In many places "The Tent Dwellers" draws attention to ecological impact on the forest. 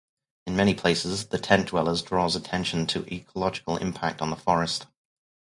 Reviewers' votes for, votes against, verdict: 4, 0, accepted